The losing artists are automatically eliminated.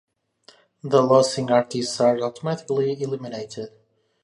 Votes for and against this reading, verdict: 0, 2, rejected